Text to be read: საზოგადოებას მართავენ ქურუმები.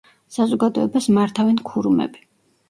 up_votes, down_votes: 2, 1